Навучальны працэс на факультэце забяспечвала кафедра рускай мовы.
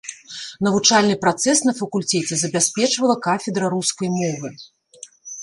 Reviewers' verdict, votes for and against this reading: rejected, 1, 2